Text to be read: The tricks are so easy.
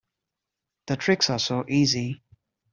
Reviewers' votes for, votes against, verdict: 2, 0, accepted